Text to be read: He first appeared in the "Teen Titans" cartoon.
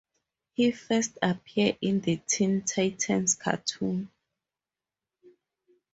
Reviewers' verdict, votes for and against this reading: accepted, 2, 0